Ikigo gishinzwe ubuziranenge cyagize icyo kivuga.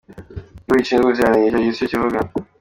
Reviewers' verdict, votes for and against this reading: rejected, 0, 2